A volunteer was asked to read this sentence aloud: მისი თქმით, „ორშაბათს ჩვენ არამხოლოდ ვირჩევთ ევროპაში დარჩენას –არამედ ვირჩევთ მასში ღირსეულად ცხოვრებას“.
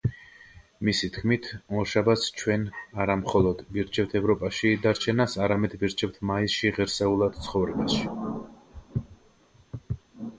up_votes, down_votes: 0, 2